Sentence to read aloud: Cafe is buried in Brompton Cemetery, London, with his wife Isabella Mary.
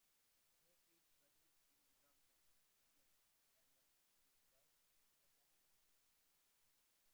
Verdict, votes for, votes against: rejected, 0, 2